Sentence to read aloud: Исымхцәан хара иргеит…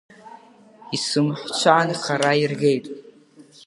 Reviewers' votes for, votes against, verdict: 2, 1, accepted